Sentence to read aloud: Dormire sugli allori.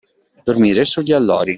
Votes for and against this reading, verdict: 2, 0, accepted